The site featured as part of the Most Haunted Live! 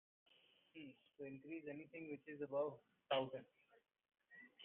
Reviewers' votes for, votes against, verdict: 0, 2, rejected